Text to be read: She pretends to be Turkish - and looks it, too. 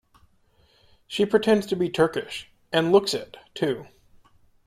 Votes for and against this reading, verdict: 2, 0, accepted